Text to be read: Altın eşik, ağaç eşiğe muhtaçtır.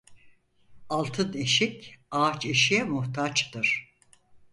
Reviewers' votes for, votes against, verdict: 4, 0, accepted